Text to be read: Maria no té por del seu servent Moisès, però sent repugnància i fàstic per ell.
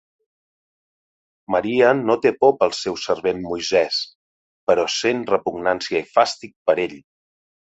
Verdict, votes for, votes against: rejected, 0, 2